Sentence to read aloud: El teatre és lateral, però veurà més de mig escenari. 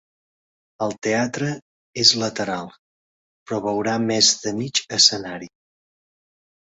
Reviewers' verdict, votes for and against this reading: accepted, 2, 0